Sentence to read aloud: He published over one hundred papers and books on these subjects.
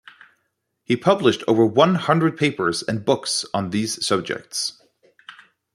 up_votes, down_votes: 2, 0